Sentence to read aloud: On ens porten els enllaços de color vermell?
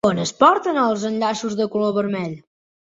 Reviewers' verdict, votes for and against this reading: accepted, 2, 1